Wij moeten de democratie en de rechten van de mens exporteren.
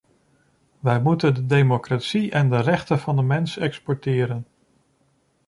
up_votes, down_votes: 2, 0